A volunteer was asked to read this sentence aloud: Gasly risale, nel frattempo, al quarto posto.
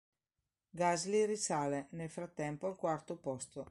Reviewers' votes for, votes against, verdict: 2, 0, accepted